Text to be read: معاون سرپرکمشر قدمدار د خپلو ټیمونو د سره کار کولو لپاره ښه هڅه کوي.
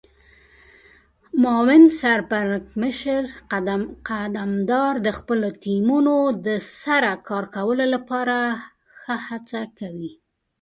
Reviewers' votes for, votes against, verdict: 2, 0, accepted